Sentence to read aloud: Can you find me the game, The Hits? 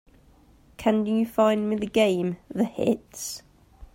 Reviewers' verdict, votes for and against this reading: accepted, 2, 0